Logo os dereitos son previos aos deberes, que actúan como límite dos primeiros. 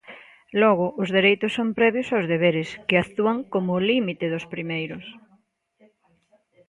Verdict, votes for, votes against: accepted, 2, 0